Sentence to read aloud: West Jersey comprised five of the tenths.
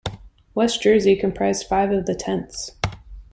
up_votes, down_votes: 3, 0